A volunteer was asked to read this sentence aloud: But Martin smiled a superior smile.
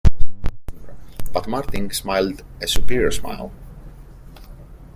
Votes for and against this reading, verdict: 2, 0, accepted